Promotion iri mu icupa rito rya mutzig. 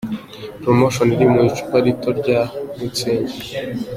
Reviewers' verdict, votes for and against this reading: accepted, 2, 0